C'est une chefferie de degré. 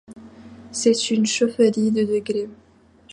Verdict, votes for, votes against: rejected, 1, 2